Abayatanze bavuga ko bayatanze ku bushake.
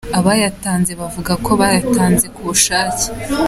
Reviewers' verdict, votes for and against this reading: accepted, 3, 0